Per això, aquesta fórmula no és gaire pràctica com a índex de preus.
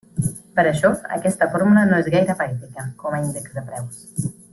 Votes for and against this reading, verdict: 1, 2, rejected